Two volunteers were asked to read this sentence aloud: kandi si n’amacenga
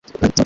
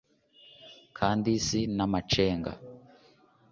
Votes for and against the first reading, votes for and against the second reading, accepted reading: 1, 2, 2, 0, second